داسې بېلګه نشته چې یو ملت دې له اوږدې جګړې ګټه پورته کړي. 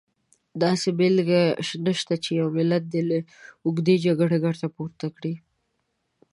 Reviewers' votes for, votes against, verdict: 2, 0, accepted